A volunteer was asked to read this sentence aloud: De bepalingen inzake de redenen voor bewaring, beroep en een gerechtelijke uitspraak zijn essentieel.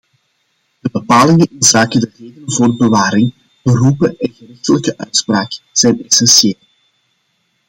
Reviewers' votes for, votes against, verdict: 0, 2, rejected